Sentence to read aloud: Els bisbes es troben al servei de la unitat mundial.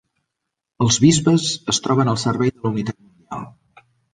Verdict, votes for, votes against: rejected, 0, 2